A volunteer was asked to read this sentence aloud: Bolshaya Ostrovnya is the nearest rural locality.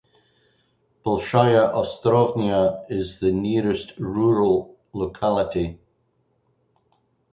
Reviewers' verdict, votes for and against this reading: rejected, 2, 2